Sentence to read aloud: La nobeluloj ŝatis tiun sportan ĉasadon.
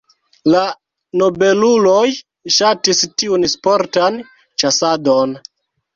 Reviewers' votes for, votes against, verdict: 1, 2, rejected